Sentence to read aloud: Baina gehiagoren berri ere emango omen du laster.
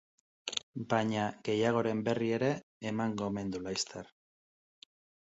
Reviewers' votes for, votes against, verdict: 2, 0, accepted